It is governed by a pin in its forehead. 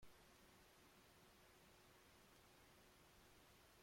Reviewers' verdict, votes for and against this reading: rejected, 0, 2